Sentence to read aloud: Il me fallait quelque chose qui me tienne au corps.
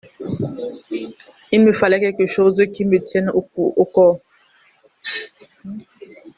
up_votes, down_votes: 0, 3